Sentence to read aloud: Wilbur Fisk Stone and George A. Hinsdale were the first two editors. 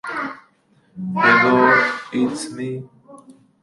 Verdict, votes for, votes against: rejected, 0, 2